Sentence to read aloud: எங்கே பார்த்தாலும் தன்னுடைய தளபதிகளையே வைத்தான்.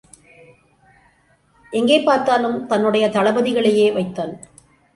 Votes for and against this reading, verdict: 2, 0, accepted